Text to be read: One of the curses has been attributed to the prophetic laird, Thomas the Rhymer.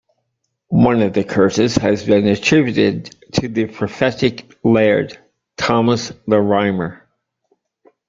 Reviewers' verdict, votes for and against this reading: accepted, 3, 0